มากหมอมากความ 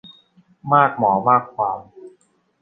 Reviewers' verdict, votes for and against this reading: accepted, 2, 0